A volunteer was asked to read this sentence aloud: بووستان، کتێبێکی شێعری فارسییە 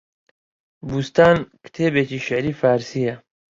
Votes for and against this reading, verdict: 3, 1, accepted